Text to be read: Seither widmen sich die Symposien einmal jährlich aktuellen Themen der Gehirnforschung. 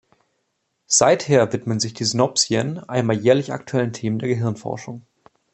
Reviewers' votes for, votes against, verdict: 0, 2, rejected